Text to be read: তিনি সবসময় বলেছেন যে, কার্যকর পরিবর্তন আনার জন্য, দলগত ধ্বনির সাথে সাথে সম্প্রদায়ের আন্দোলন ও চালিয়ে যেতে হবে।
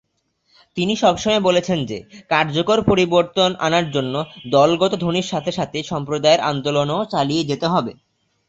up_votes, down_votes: 2, 0